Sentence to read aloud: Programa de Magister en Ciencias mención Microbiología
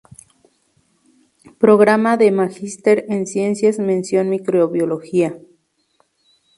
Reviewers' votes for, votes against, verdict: 4, 0, accepted